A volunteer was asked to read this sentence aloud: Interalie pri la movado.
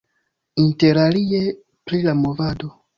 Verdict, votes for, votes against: accepted, 2, 0